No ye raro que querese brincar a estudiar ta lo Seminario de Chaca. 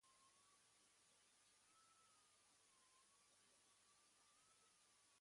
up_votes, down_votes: 1, 2